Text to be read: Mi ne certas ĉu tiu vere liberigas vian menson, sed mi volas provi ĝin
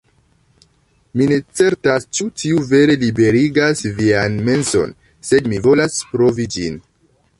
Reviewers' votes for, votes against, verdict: 0, 2, rejected